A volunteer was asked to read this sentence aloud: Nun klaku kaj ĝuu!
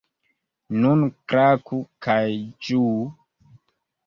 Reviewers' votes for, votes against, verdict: 2, 1, accepted